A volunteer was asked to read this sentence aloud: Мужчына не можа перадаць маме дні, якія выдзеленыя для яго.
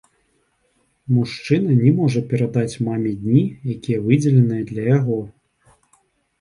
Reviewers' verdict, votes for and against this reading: accepted, 2, 0